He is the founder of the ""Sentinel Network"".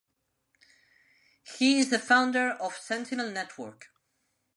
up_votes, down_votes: 0, 2